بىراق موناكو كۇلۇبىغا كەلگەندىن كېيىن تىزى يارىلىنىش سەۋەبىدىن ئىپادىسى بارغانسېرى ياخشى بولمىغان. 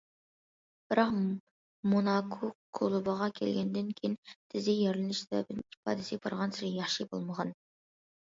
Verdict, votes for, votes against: accepted, 2, 1